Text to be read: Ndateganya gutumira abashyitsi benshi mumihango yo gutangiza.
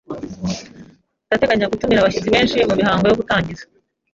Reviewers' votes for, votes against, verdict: 2, 1, accepted